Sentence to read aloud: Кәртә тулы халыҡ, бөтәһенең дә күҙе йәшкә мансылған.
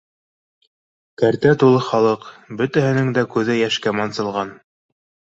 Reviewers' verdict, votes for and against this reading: accepted, 2, 0